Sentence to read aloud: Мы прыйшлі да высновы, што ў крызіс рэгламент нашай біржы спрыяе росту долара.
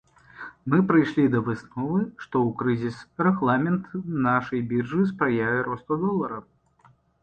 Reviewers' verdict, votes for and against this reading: accepted, 2, 0